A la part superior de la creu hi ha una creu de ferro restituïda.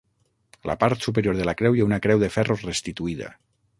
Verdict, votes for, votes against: rejected, 0, 6